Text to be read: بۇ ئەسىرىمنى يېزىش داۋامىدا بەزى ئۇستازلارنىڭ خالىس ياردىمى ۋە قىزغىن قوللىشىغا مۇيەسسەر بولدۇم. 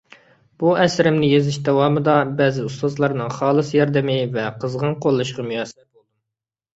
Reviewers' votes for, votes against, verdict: 1, 2, rejected